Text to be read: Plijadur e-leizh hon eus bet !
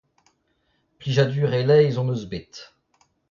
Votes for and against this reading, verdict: 0, 2, rejected